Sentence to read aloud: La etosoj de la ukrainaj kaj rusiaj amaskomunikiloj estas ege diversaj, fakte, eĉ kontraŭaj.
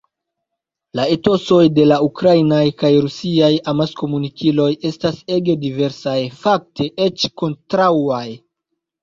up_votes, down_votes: 0, 2